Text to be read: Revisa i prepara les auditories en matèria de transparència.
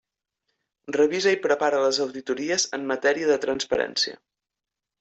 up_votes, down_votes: 3, 0